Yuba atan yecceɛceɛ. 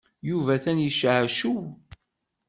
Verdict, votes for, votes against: rejected, 1, 2